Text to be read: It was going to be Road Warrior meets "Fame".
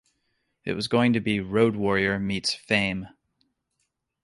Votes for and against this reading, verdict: 2, 0, accepted